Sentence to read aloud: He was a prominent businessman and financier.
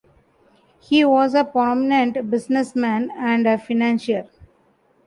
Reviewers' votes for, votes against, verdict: 0, 2, rejected